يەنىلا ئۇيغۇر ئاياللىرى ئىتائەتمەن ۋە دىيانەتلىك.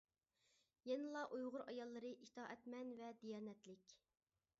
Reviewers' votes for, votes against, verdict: 2, 0, accepted